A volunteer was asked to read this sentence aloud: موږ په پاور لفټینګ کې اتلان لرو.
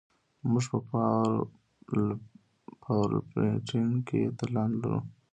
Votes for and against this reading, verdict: 1, 2, rejected